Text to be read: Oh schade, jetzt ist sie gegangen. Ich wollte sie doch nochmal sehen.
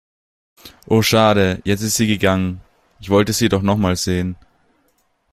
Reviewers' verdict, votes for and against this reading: accepted, 2, 0